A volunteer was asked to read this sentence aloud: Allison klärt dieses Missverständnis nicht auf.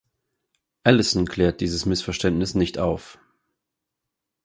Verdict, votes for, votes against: accepted, 4, 0